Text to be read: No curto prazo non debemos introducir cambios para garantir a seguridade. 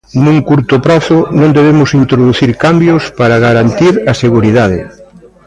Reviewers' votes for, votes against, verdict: 1, 2, rejected